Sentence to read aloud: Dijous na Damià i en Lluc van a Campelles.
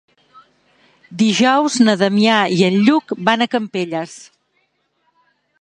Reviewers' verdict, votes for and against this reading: accepted, 3, 0